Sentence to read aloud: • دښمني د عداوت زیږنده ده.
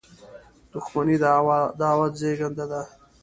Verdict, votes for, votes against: rejected, 1, 2